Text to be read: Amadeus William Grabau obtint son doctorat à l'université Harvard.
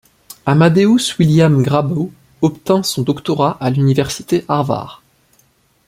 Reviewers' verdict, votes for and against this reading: rejected, 1, 2